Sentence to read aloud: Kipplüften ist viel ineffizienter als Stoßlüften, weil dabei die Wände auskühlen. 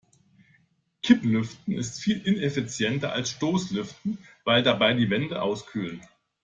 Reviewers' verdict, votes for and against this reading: accepted, 2, 0